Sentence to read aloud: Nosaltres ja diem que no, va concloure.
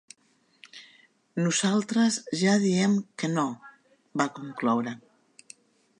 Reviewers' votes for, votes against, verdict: 3, 0, accepted